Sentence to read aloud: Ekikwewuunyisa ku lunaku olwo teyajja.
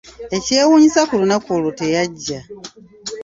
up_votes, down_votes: 1, 2